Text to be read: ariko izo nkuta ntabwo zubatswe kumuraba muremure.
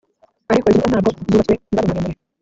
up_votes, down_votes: 1, 2